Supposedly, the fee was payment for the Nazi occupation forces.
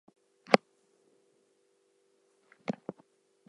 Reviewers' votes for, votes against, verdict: 0, 2, rejected